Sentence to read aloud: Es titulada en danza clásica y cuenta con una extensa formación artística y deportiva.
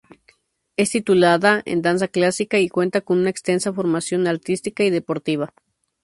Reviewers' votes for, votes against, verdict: 2, 0, accepted